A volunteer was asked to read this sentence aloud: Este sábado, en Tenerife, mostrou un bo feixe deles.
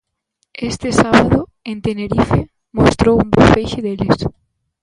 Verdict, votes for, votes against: accepted, 2, 0